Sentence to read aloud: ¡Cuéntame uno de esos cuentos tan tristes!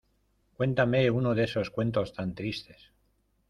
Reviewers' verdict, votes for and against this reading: accepted, 2, 0